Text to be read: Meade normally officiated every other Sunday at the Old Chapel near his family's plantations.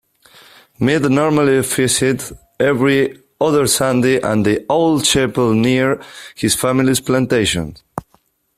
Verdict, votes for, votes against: rejected, 1, 2